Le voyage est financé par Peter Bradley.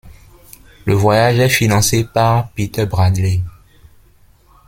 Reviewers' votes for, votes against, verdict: 2, 0, accepted